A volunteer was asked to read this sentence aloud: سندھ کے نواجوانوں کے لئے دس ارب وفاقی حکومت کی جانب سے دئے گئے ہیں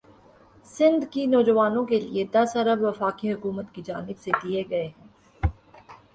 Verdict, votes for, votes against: accepted, 2, 0